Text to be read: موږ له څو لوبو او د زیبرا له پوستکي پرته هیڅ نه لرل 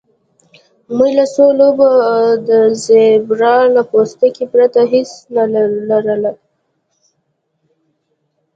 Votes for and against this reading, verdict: 2, 0, accepted